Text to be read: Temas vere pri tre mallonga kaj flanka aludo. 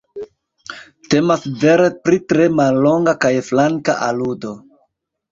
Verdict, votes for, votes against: accepted, 2, 1